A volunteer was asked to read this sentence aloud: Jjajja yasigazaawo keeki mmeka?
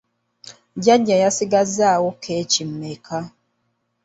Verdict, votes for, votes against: accepted, 2, 0